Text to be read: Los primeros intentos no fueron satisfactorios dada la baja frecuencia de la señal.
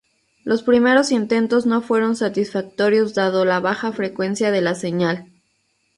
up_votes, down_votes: 0, 2